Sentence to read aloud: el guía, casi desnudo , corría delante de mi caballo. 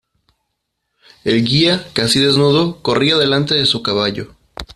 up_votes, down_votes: 0, 2